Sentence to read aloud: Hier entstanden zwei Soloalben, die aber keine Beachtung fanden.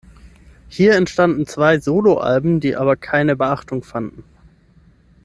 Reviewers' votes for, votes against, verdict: 6, 0, accepted